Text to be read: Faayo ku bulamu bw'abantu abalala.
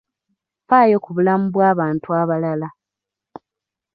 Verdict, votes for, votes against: accepted, 2, 1